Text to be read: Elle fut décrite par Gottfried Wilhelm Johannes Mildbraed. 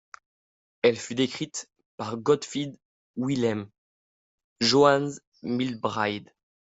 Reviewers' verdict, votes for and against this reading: rejected, 1, 2